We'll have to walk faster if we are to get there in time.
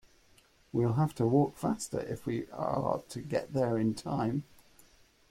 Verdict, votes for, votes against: accepted, 2, 0